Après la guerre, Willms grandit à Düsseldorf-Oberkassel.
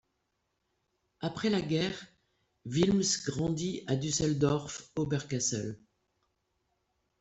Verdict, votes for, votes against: rejected, 1, 2